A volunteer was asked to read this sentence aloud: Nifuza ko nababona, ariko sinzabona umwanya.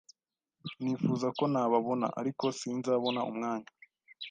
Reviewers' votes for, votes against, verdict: 2, 0, accepted